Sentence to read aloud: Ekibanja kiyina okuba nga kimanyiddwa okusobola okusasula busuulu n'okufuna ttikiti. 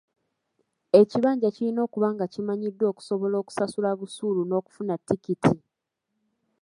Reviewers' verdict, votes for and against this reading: accepted, 2, 0